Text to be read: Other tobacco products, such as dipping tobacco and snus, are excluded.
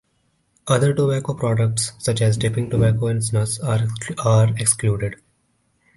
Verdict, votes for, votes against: rejected, 1, 2